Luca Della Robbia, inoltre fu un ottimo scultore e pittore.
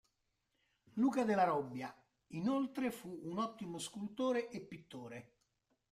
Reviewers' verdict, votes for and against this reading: accepted, 2, 1